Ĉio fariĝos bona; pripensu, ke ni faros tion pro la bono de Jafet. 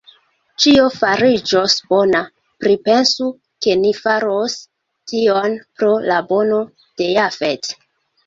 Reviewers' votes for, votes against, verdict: 0, 2, rejected